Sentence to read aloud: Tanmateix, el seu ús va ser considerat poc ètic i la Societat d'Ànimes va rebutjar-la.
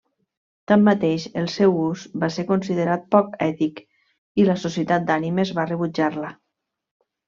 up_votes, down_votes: 3, 0